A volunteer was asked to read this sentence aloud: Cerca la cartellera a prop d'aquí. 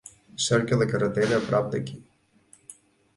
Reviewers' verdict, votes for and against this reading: rejected, 0, 2